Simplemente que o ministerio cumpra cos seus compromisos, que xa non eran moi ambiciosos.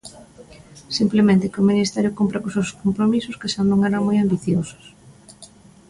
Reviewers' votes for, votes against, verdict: 2, 0, accepted